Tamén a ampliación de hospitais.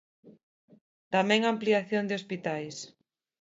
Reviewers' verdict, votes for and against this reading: accepted, 2, 0